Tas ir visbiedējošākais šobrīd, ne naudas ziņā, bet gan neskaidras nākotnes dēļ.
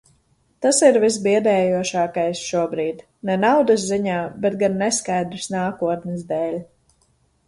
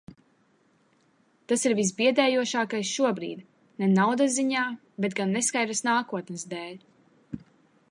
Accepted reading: second